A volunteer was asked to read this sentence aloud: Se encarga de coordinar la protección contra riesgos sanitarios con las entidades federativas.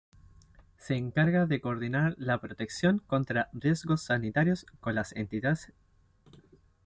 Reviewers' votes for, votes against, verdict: 0, 2, rejected